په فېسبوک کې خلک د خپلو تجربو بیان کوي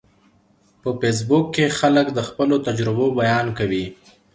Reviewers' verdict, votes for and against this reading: accepted, 3, 0